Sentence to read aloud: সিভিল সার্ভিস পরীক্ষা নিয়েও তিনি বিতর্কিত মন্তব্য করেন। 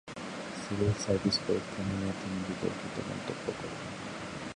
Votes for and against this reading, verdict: 2, 13, rejected